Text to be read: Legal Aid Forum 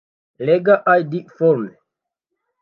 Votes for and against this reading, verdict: 1, 2, rejected